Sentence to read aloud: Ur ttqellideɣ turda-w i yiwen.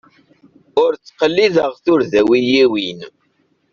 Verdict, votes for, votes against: rejected, 1, 2